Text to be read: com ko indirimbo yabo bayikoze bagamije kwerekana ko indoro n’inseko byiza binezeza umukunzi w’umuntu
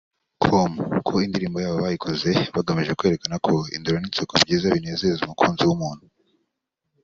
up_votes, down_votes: 2, 0